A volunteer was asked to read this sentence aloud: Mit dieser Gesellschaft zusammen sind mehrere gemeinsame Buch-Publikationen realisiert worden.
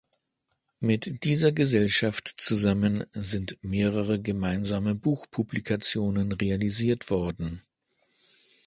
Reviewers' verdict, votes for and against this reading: accepted, 2, 0